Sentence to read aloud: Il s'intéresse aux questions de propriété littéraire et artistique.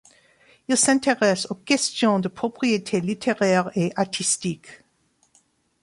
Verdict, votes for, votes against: accepted, 2, 0